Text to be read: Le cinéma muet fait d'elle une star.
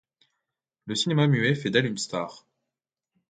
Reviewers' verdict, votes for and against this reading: accepted, 2, 0